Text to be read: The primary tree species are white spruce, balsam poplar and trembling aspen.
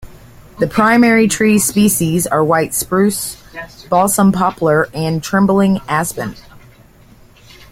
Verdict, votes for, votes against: rejected, 1, 2